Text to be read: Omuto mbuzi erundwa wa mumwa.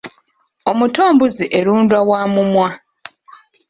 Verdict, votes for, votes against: rejected, 0, 2